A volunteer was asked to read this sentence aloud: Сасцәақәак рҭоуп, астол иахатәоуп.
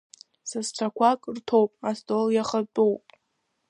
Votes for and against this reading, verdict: 1, 2, rejected